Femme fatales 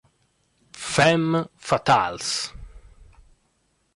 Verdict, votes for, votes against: accepted, 2, 0